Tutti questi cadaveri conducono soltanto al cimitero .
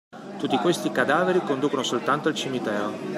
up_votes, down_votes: 2, 0